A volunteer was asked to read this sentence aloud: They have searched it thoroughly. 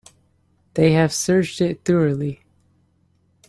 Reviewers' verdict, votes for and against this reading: accepted, 3, 1